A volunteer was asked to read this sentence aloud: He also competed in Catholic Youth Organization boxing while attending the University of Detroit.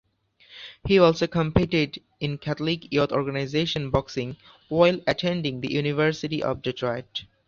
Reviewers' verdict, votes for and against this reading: accepted, 2, 0